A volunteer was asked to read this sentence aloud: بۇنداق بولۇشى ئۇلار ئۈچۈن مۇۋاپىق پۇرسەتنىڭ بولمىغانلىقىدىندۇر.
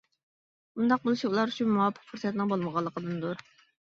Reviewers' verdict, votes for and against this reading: rejected, 1, 2